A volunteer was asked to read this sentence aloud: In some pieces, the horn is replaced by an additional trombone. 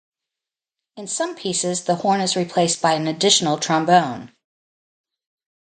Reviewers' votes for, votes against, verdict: 2, 0, accepted